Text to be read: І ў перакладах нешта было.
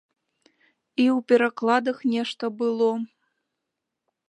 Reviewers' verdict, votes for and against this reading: accepted, 2, 0